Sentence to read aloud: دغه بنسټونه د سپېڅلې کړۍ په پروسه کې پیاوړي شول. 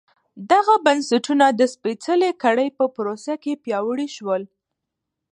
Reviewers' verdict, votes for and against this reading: rejected, 1, 2